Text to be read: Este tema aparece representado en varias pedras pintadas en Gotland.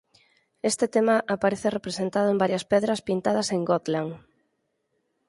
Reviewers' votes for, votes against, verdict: 4, 0, accepted